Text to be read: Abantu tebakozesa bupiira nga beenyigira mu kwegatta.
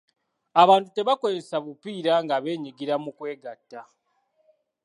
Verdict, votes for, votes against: accepted, 2, 0